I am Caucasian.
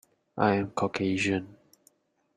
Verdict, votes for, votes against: accepted, 2, 0